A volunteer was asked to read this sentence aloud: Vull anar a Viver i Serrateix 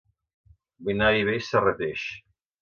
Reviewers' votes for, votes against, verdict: 1, 2, rejected